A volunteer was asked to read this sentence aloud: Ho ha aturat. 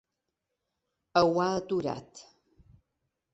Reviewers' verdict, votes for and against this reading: rejected, 1, 2